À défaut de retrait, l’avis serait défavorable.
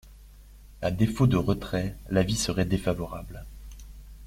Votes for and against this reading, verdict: 2, 0, accepted